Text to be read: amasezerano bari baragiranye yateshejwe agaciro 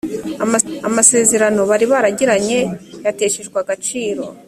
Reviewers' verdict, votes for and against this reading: rejected, 0, 2